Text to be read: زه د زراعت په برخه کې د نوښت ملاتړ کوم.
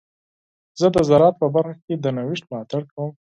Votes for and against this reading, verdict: 2, 4, rejected